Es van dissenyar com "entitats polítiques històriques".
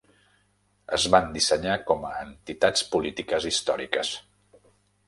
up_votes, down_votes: 1, 2